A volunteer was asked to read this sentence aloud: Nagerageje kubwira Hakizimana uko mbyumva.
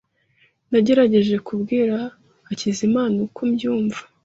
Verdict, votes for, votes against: accepted, 2, 0